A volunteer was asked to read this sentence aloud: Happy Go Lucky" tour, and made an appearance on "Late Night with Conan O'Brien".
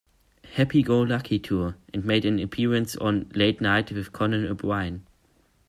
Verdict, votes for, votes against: rejected, 1, 2